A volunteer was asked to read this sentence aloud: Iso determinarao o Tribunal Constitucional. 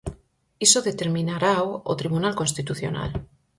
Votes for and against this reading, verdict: 4, 0, accepted